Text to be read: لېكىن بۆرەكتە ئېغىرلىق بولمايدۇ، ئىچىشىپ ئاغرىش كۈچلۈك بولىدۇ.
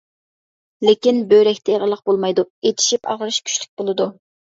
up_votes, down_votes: 2, 0